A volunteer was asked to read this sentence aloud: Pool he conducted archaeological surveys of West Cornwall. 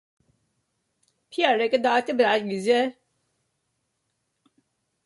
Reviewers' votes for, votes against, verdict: 0, 3, rejected